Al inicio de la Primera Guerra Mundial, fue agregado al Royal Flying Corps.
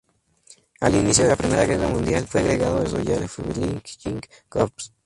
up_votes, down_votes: 0, 2